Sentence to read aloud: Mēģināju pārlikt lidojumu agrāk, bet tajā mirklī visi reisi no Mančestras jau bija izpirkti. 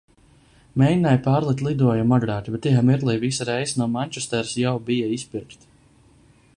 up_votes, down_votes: 0, 2